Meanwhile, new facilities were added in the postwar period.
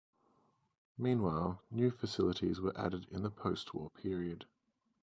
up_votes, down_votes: 0, 2